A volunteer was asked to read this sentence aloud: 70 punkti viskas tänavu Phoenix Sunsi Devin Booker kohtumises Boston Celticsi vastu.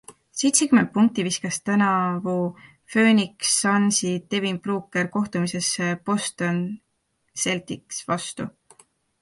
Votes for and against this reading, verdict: 0, 2, rejected